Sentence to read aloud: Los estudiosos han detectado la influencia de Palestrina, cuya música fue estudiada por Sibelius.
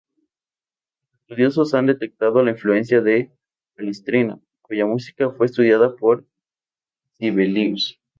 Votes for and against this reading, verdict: 2, 0, accepted